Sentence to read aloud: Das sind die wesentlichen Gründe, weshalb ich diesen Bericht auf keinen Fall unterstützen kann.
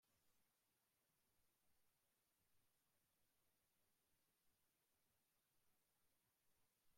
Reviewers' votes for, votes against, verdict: 0, 2, rejected